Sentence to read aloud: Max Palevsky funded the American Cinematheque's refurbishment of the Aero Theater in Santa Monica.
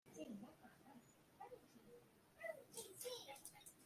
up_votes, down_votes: 0, 2